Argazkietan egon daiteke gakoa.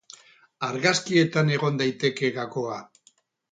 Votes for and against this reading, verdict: 8, 0, accepted